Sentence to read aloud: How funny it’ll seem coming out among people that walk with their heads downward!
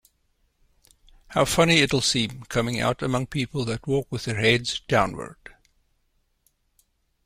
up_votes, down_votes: 2, 0